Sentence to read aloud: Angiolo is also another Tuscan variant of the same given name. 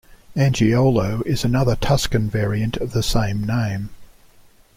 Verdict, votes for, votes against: rejected, 1, 2